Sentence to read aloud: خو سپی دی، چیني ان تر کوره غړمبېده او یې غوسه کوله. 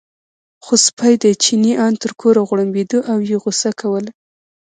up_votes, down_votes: 0, 2